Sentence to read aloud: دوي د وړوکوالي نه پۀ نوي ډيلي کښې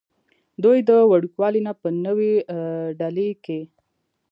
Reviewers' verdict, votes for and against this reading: accepted, 2, 1